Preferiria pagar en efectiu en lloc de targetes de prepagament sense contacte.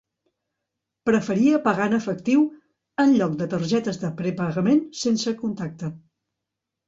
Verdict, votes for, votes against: rejected, 1, 2